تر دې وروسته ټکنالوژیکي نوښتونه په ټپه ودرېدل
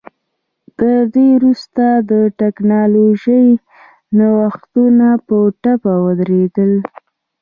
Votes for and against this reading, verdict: 2, 0, accepted